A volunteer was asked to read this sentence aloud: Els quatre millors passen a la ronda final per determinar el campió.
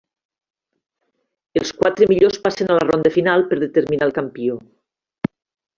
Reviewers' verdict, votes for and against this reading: accepted, 3, 0